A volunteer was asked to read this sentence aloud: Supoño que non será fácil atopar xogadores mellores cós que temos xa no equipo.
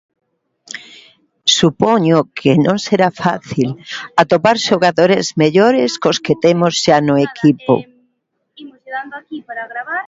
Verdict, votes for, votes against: rejected, 0, 2